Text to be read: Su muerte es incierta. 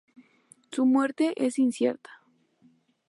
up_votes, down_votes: 2, 0